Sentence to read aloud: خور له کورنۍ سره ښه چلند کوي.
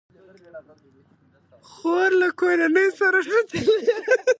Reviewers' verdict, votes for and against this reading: rejected, 1, 2